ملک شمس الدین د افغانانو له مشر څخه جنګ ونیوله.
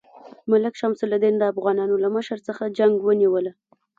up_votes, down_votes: 2, 0